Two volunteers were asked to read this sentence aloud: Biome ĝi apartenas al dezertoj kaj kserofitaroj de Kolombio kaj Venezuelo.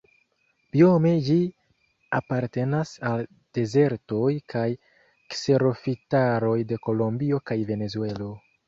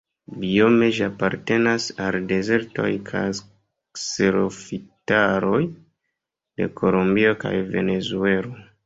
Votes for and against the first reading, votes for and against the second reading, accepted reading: 2, 1, 1, 2, first